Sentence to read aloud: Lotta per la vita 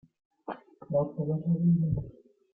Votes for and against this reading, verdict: 0, 2, rejected